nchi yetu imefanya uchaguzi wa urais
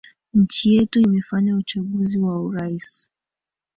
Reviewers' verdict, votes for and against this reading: rejected, 0, 2